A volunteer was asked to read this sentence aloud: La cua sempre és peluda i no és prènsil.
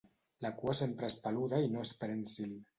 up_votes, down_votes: 2, 0